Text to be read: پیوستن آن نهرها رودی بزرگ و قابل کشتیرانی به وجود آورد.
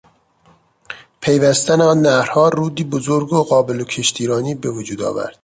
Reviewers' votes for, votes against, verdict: 3, 0, accepted